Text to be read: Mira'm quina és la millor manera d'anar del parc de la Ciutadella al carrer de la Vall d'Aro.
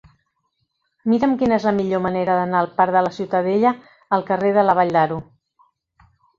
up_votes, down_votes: 1, 2